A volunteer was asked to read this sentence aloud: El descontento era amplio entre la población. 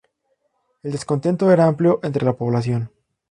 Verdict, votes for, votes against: accepted, 4, 0